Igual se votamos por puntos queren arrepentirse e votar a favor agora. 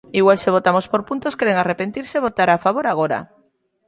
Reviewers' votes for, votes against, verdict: 2, 0, accepted